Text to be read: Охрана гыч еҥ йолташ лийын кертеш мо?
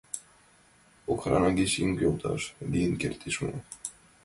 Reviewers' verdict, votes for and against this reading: accepted, 2, 0